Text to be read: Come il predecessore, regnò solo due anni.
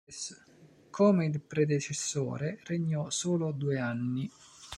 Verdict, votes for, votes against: rejected, 0, 2